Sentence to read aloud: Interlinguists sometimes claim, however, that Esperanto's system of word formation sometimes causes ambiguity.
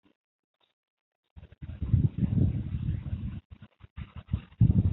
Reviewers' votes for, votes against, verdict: 0, 2, rejected